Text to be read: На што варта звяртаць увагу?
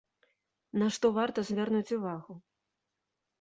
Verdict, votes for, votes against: rejected, 0, 2